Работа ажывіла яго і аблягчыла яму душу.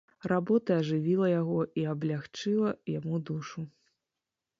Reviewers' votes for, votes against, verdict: 2, 0, accepted